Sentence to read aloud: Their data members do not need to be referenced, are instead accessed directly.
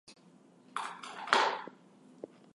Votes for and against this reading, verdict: 0, 4, rejected